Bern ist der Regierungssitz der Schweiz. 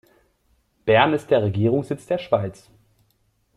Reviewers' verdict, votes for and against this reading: accepted, 2, 1